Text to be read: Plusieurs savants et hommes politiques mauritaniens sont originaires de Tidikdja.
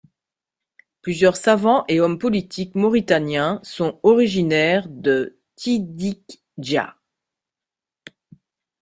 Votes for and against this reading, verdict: 0, 2, rejected